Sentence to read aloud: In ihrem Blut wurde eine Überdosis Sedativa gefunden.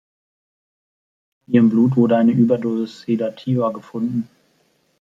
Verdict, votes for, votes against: rejected, 0, 2